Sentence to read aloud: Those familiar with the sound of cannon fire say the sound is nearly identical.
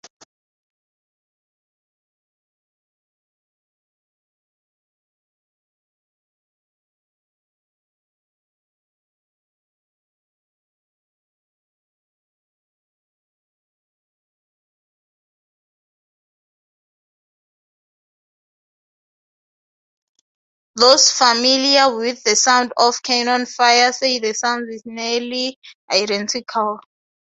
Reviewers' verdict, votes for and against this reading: rejected, 0, 2